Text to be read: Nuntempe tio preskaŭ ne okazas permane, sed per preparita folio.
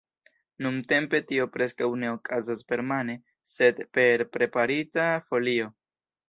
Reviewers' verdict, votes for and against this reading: accepted, 2, 0